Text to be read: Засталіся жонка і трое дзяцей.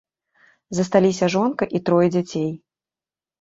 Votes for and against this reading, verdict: 2, 0, accepted